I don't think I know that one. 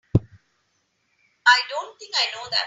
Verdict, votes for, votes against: rejected, 0, 3